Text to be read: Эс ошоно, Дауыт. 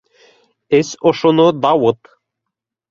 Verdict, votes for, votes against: accepted, 2, 0